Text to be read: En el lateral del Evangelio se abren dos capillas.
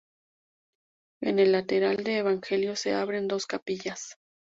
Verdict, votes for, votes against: accepted, 4, 0